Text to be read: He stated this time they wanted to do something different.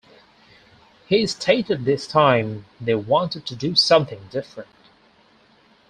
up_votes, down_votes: 4, 0